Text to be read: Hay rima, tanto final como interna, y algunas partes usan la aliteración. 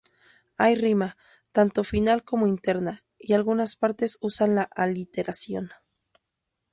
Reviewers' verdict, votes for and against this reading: accepted, 2, 0